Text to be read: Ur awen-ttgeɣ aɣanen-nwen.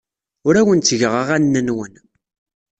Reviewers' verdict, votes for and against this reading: accepted, 2, 0